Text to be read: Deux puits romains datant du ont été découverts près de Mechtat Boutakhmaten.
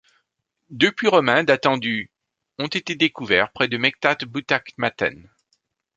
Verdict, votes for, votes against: accepted, 2, 0